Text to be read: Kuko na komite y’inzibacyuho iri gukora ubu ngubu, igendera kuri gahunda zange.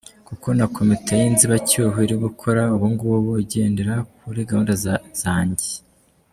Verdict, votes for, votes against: accepted, 2, 0